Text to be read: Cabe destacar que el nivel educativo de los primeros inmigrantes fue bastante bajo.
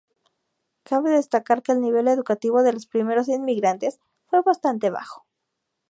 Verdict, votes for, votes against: accepted, 2, 0